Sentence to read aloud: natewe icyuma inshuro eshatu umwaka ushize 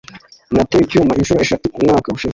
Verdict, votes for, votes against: accepted, 2, 1